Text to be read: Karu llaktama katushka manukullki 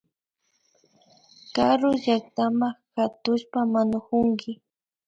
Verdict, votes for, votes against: rejected, 0, 2